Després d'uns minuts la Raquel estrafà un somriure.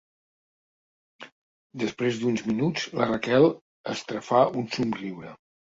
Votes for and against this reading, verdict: 2, 0, accepted